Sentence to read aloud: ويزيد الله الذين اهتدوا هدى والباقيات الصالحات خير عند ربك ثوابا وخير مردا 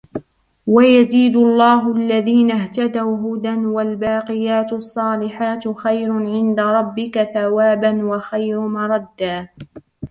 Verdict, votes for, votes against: accepted, 2, 1